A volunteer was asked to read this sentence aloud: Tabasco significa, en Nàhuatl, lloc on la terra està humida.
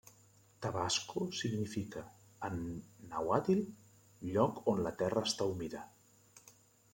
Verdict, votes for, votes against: accepted, 2, 1